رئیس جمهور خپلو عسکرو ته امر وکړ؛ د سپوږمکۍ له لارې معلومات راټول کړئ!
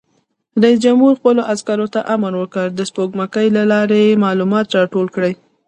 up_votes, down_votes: 1, 2